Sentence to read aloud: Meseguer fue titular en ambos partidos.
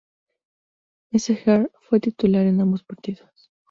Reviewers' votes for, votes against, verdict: 4, 0, accepted